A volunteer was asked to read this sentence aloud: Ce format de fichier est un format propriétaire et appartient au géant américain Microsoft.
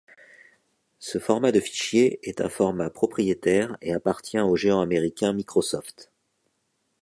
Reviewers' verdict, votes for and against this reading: accepted, 2, 0